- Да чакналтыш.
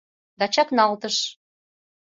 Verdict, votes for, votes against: accepted, 2, 0